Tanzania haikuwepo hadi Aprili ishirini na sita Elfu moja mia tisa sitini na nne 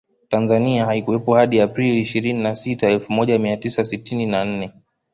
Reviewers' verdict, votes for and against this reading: accepted, 2, 1